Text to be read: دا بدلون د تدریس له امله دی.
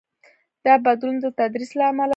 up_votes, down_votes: 1, 2